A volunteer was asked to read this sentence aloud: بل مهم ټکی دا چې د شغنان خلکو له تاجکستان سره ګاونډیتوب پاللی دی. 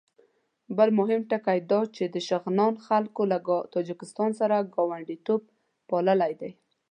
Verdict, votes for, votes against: accepted, 2, 0